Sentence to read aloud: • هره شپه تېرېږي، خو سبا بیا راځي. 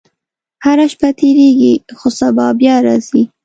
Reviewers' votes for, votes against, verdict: 2, 0, accepted